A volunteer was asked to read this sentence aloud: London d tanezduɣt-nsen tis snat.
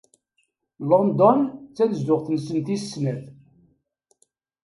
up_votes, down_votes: 2, 0